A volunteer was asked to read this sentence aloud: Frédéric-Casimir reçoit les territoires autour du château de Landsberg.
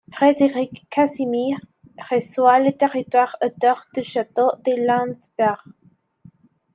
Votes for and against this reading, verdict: 2, 1, accepted